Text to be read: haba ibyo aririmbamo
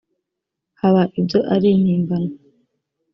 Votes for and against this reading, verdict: 0, 2, rejected